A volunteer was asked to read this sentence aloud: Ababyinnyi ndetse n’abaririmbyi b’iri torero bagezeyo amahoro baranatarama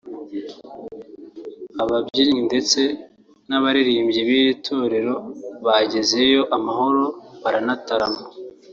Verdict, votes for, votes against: rejected, 0, 2